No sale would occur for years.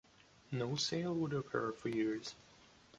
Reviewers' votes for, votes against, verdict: 2, 0, accepted